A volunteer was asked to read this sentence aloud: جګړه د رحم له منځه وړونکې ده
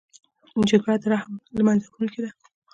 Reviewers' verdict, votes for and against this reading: rejected, 0, 2